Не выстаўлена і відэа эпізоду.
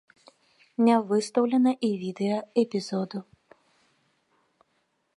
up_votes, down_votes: 2, 0